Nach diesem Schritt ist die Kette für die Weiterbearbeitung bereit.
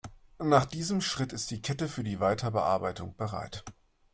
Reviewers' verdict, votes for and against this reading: accepted, 2, 0